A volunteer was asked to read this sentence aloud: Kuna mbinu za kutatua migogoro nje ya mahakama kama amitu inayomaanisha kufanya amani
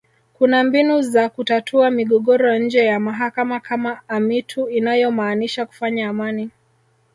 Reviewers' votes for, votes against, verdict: 1, 2, rejected